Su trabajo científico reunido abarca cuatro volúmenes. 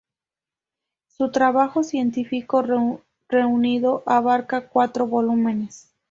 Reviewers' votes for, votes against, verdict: 0, 2, rejected